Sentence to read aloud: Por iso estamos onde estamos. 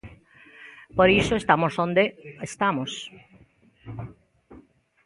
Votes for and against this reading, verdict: 2, 0, accepted